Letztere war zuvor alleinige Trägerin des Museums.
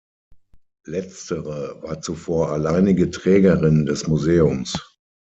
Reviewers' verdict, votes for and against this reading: accepted, 6, 0